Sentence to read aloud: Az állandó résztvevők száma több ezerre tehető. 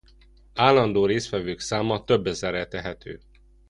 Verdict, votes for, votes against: rejected, 0, 2